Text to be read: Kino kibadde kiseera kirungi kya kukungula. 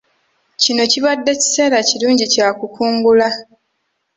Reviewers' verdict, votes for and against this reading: accepted, 3, 0